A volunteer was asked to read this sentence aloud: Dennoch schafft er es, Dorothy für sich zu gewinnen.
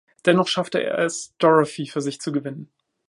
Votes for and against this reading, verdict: 0, 2, rejected